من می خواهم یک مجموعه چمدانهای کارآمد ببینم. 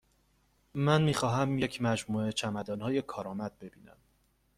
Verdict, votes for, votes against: accepted, 2, 0